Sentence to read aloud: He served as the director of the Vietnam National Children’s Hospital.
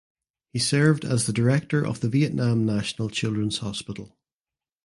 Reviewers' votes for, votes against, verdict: 2, 0, accepted